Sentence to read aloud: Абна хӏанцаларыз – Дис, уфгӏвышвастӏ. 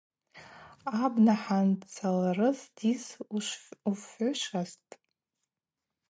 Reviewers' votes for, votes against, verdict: 0, 4, rejected